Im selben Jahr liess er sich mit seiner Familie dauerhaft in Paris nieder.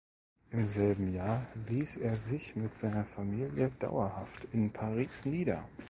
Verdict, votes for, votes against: accepted, 2, 0